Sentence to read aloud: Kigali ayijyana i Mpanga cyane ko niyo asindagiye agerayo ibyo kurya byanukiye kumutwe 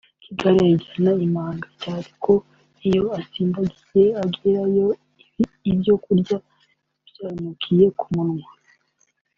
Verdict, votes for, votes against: rejected, 0, 2